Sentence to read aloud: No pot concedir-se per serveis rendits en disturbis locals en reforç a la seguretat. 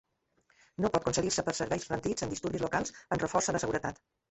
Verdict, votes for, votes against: accepted, 2, 1